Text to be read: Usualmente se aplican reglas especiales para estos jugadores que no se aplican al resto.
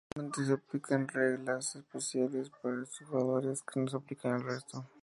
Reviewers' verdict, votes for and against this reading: accepted, 2, 0